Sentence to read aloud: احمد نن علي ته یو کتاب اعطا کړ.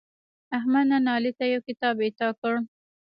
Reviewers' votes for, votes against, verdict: 1, 2, rejected